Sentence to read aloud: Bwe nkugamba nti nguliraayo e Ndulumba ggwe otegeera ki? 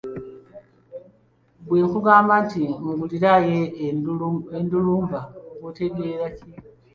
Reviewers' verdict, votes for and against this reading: rejected, 0, 2